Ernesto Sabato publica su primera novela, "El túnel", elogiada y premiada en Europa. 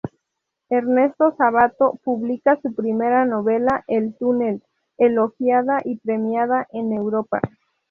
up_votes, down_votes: 2, 0